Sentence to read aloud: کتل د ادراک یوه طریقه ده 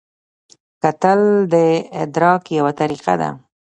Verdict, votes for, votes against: accepted, 2, 0